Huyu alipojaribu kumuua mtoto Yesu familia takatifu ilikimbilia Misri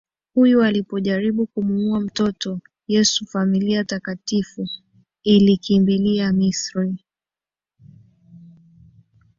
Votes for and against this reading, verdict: 2, 1, accepted